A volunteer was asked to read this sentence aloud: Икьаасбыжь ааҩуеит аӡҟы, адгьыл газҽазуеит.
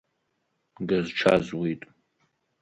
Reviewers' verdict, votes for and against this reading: rejected, 1, 3